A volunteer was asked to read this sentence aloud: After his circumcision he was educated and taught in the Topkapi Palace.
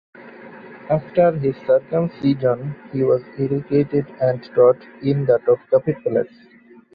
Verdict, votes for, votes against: accepted, 2, 0